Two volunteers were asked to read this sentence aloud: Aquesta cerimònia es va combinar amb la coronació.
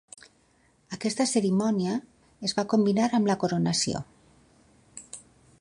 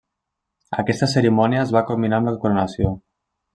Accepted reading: first